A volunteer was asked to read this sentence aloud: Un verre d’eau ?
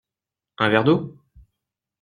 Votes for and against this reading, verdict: 2, 0, accepted